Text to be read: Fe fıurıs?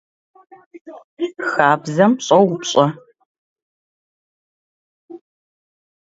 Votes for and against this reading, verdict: 0, 2, rejected